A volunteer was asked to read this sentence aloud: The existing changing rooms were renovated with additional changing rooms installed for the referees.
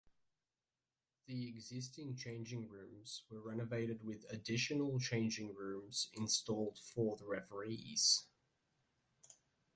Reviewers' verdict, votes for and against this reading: accepted, 2, 0